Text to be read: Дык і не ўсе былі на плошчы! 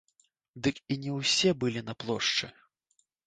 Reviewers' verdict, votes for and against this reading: accepted, 2, 0